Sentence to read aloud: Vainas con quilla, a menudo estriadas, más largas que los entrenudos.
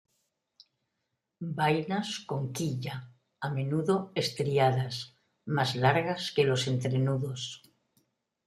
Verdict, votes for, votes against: rejected, 0, 2